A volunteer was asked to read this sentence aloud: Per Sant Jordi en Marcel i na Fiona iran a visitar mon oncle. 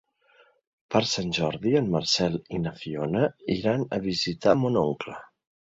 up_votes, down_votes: 2, 0